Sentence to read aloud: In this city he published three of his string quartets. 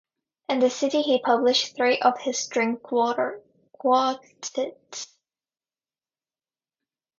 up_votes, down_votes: 0, 2